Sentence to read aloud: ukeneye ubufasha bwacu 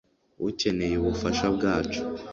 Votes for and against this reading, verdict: 2, 0, accepted